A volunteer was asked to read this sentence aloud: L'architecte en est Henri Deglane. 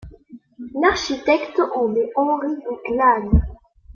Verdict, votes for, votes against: accepted, 2, 0